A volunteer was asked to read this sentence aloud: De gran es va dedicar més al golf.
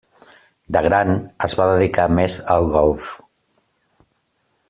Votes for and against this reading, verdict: 3, 0, accepted